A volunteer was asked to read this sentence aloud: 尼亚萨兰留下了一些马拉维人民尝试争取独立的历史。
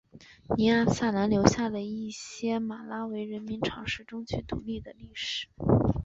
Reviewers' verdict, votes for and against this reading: accepted, 2, 1